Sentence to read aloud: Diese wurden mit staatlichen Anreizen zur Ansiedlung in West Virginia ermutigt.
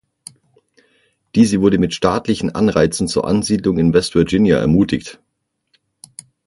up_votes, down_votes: 0, 6